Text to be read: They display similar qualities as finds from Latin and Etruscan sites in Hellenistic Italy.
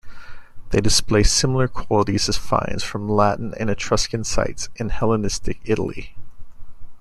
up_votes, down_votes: 2, 0